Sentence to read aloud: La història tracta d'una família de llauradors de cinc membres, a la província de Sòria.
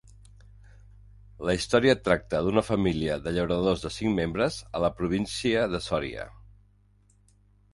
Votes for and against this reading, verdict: 2, 0, accepted